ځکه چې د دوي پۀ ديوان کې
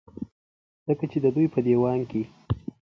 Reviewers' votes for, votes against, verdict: 3, 0, accepted